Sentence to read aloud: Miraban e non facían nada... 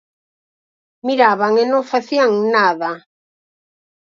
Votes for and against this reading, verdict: 4, 0, accepted